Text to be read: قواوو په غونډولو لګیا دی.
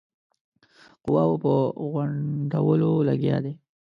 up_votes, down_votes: 2, 3